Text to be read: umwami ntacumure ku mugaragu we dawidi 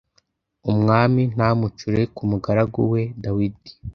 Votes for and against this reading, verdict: 1, 2, rejected